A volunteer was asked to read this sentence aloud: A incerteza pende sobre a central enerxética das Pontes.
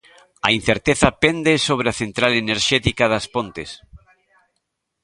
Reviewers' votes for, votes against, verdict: 2, 0, accepted